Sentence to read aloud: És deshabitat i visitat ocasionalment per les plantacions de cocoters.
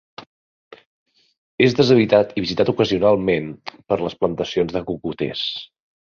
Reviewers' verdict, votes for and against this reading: accepted, 2, 0